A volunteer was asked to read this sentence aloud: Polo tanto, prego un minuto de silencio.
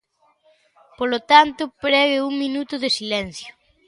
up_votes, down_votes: 2, 0